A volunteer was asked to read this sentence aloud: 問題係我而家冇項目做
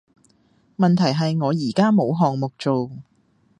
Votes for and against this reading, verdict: 2, 0, accepted